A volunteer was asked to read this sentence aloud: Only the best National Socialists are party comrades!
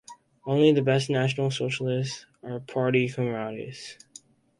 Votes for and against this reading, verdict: 0, 4, rejected